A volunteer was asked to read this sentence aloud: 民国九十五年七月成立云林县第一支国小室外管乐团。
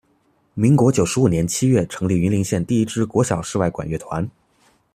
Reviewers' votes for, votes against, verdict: 2, 0, accepted